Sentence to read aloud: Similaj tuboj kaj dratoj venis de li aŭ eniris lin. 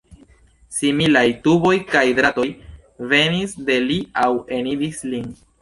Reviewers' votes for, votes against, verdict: 1, 2, rejected